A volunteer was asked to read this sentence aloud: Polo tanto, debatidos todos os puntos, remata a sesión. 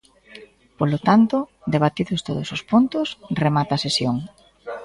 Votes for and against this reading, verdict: 2, 0, accepted